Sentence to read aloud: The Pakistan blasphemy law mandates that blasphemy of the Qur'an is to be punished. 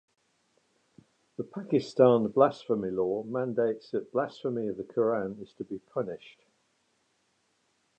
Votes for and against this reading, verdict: 3, 0, accepted